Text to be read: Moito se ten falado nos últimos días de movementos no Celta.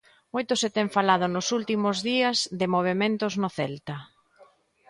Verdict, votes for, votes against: accepted, 2, 0